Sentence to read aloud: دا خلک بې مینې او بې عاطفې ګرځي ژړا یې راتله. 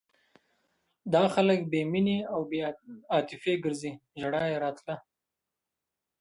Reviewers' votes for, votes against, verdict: 0, 2, rejected